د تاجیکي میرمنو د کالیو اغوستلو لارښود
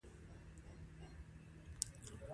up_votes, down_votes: 0, 2